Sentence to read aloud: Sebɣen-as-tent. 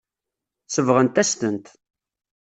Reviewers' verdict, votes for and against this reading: rejected, 1, 2